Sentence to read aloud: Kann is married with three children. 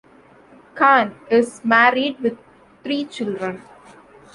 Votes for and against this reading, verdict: 2, 0, accepted